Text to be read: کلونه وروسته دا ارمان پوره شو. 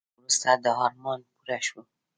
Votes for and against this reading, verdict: 2, 0, accepted